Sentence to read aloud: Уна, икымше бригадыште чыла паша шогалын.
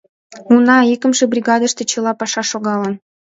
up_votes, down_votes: 2, 0